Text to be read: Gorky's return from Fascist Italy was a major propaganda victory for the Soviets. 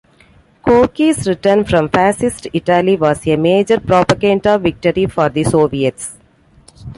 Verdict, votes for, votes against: accepted, 2, 0